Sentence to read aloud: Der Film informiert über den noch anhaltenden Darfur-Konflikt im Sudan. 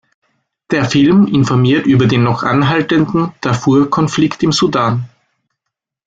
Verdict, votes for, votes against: accepted, 2, 0